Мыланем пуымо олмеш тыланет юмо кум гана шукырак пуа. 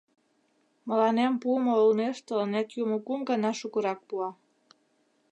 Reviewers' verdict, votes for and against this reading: accepted, 2, 0